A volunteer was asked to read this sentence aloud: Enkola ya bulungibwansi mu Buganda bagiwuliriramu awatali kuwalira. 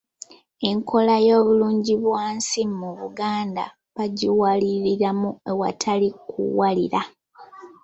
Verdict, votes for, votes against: rejected, 0, 2